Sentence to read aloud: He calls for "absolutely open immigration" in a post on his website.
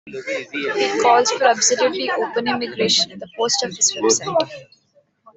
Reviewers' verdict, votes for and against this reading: rejected, 1, 2